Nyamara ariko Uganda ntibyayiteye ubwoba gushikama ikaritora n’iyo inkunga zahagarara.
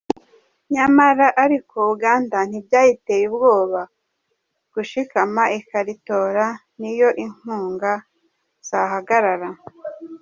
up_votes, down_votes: 2, 0